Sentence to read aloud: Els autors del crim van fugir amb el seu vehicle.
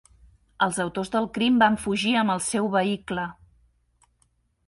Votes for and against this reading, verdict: 3, 0, accepted